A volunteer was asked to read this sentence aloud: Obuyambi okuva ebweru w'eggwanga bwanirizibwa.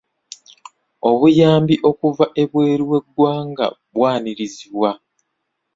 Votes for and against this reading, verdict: 2, 0, accepted